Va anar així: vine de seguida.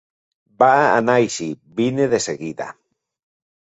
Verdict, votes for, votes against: accepted, 2, 0